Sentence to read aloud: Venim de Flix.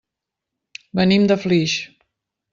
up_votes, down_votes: 2, 1